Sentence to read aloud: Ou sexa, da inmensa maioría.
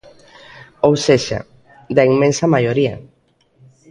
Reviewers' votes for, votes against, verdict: 2, 0, accepted